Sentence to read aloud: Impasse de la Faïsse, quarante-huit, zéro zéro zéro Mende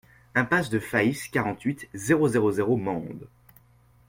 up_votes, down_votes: 0, 2